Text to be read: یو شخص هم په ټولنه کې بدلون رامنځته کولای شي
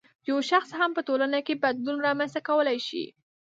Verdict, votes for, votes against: rejected, 1, 2